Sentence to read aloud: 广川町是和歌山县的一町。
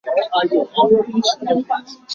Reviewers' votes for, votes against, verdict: 1, 3, rejected